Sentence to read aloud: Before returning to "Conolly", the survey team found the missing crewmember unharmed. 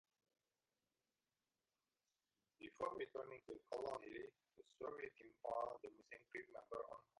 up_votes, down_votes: 0, 3